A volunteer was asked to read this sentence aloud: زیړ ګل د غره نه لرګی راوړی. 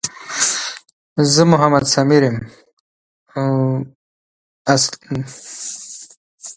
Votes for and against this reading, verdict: 0, 3, rejected